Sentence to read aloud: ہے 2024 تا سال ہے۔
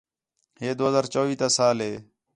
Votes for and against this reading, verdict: 0, 2, rejected